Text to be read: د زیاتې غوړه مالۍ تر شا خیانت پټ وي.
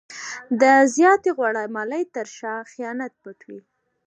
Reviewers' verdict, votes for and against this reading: accepted, 2, 0